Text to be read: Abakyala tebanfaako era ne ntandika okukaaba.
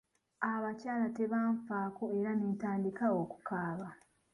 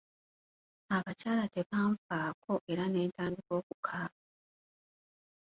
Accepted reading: first